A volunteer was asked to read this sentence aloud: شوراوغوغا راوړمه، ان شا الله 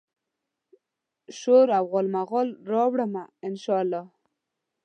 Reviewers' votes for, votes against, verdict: 0, 2, rejected